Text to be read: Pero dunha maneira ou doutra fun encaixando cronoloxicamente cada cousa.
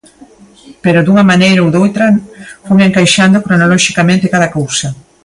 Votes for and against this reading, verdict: 2, 0, accepted